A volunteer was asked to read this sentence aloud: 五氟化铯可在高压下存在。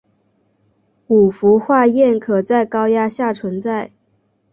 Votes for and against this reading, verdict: 2, 0, accepted